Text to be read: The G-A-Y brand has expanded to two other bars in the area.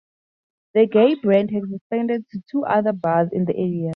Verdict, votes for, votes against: accepted, 4, 0